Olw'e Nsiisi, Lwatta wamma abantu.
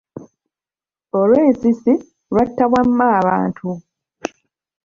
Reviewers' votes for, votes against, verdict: 1, 2, rejected